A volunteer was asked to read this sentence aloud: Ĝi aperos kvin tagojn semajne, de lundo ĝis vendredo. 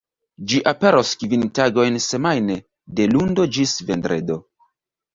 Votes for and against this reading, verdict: 2, 0, accepted